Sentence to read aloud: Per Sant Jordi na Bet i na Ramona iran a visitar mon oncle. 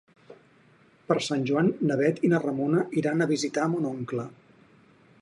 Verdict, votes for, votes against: rejected, 0, 4